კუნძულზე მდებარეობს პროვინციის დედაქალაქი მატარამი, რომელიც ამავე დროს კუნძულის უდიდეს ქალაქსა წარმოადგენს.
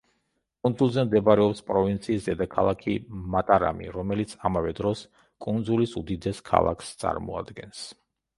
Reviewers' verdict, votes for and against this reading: accepted, 2, 0